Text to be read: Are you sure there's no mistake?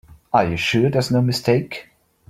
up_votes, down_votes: 2, 1